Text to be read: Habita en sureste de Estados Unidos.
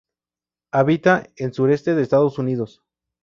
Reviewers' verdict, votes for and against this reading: accepted, 2, 0